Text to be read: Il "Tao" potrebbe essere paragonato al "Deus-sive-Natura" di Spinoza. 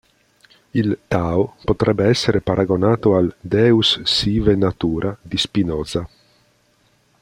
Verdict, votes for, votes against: accepted, 2, 0